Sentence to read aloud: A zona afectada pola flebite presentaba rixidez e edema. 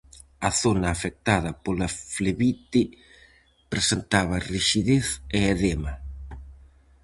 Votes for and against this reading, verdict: 4, 0, accepted